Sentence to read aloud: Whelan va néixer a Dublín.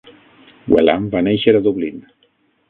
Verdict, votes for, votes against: rejected, 3, 6